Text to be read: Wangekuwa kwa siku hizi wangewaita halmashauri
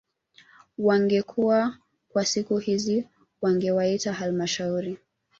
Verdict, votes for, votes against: accepted, 2, 0